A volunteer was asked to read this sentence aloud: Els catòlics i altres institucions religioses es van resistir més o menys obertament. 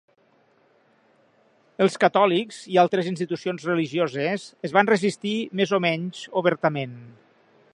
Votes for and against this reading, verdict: 3, 0, accepted